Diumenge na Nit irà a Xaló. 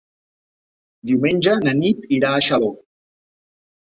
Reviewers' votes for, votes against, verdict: 4, 0, accepted